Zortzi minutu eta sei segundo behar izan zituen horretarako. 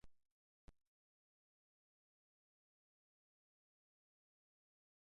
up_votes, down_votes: 0, 2